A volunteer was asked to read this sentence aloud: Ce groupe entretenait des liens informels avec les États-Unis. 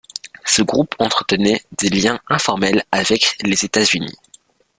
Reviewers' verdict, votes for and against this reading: rejected, 1, 2